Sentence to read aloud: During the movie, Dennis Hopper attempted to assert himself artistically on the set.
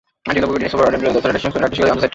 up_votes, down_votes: 0, 2